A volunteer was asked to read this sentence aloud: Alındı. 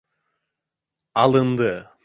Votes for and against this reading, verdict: 2, 0, accepted